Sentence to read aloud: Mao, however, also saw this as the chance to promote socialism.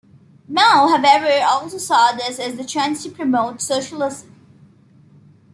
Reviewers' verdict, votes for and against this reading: accepted, 2, 0